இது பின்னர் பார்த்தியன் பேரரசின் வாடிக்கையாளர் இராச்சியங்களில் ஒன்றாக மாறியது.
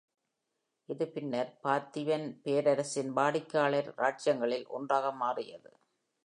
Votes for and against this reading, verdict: 2, 0, accepted